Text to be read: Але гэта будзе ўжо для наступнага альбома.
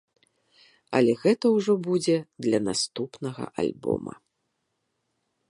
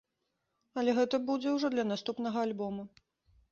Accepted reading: second